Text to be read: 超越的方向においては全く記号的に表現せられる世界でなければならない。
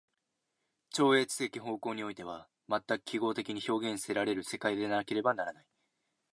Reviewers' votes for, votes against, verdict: 2, 0, accepted